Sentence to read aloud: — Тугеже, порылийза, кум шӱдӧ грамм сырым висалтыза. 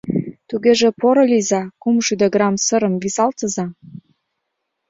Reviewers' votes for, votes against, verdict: 0, 2, rejected